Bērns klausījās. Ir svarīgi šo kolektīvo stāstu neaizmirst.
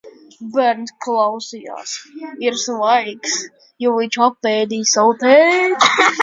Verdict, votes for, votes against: rejected, 0, 2